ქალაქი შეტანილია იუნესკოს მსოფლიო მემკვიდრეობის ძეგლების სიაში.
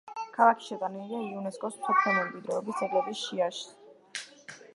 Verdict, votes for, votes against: rejected, 0, 2